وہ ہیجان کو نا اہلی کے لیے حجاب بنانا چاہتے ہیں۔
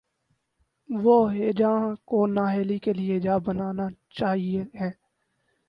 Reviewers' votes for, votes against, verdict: 0, 2, rejected